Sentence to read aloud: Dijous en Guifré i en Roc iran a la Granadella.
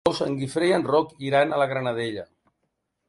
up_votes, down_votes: 0, 2